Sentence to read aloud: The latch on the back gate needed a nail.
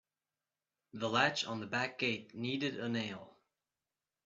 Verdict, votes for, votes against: accepted, 2, 0